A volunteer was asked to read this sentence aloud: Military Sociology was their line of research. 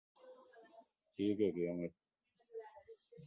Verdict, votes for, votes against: rejected, 0, 2